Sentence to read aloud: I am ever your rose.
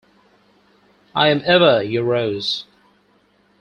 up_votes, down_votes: 4, 0